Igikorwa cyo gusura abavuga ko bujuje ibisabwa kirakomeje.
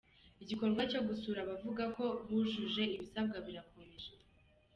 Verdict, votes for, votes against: accepted, 2, 0